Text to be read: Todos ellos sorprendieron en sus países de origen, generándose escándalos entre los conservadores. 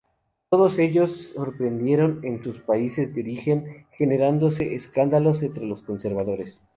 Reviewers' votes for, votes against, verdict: 2, 0, accepted